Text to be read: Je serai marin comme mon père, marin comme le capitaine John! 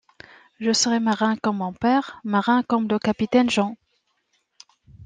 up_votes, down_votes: 2, 1